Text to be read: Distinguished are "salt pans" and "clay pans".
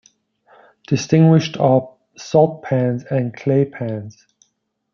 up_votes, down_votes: 2, 0